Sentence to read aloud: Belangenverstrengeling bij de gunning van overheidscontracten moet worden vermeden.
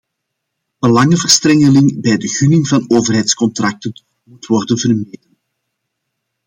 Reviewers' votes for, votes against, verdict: 2, 0, accepted